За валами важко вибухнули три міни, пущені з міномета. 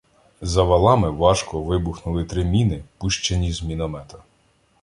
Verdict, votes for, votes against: rejected, 0, 2